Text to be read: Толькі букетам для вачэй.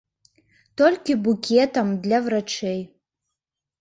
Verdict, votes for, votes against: rejected, 0, 2